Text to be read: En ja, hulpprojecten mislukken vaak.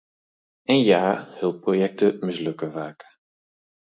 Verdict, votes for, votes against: accepted, 4, 0